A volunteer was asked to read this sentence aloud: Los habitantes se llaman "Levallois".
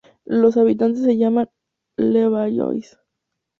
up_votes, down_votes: 2, 0